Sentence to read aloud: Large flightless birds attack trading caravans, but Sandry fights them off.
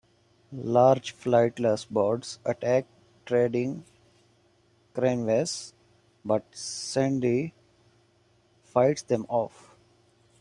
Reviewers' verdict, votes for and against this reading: rejected, 1, 2